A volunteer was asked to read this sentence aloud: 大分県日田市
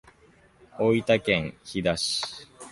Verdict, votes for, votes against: accepted, 2, 0